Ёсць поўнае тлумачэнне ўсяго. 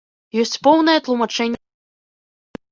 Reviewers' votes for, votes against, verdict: 0, 2, rejected